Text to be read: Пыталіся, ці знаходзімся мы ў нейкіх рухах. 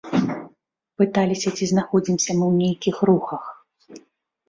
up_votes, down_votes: 2, 0